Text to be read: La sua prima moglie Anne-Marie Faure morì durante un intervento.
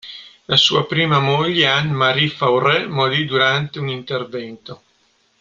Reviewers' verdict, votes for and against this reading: accepted, 2, 0